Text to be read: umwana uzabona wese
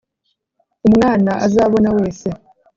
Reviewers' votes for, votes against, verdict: 0, 2, rejected